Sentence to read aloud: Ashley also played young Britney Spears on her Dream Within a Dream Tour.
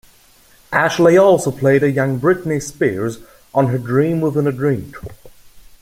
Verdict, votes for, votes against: rejected, 0, 2